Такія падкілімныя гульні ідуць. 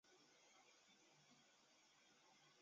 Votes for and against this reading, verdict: 0, 2, rejected